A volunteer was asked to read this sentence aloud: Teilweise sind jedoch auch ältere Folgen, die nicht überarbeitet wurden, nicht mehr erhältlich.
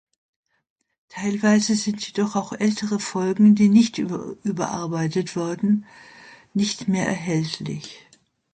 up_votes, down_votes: 0, 2